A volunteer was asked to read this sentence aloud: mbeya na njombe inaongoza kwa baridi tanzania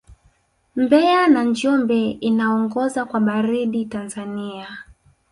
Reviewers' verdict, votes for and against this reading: rejected, 1, 2